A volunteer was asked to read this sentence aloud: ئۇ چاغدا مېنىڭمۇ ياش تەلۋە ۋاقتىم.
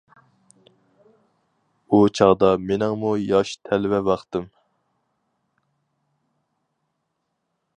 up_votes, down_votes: 4, 0